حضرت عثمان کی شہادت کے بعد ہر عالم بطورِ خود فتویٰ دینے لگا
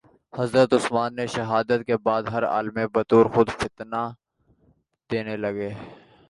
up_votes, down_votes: 0, 2